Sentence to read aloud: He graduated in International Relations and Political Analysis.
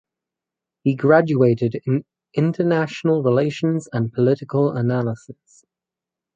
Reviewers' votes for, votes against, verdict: 4, 0, accepted